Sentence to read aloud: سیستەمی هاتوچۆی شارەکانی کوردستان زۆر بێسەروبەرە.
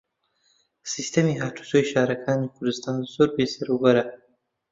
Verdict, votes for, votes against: rejected, 1, 2